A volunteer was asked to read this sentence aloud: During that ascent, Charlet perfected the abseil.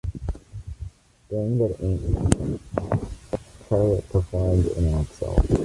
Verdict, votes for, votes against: rejected, 0, 2